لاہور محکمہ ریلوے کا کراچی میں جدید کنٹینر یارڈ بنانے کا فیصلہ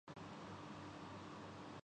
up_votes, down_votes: 0, 2